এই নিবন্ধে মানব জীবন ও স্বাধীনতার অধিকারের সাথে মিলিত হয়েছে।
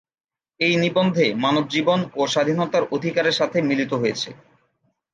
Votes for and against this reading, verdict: 2, 0, accepted